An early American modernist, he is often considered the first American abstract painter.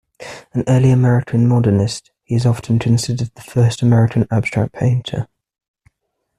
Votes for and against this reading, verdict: 2, 0, accepted